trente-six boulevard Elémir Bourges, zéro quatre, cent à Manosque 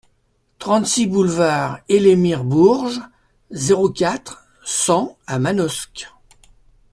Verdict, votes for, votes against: accepted, 2, 0